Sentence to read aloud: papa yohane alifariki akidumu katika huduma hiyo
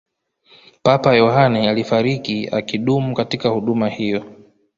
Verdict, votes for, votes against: rejected, 1, 2